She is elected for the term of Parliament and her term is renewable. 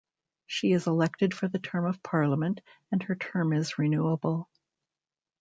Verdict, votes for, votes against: rejected, 1, 2